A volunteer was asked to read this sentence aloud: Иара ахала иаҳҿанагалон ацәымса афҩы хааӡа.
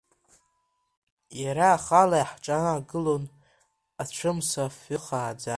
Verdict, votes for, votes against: rejected, 0, 2